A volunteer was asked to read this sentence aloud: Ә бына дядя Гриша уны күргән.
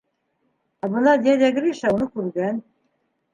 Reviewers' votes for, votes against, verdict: 3, 0, accepted